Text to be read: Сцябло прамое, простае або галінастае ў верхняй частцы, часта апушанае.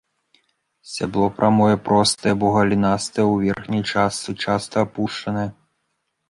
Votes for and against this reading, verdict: 0, 2, rejected